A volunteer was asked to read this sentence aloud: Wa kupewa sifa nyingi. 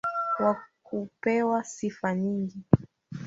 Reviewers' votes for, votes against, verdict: 0, 2, rejected